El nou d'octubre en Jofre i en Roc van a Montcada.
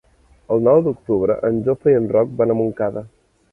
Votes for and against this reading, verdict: 3, 0, accepted